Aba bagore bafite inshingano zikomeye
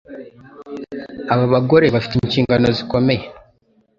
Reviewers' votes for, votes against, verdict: 2, 0, accepted